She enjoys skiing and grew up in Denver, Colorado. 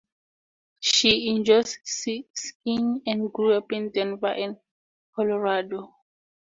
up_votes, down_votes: 2, 2